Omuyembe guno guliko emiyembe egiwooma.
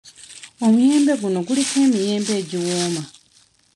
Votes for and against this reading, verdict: 2, 0, accepted